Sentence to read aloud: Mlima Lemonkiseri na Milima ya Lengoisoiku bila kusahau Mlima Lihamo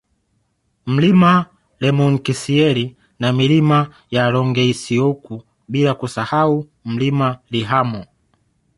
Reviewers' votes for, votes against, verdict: 0, 2, rejected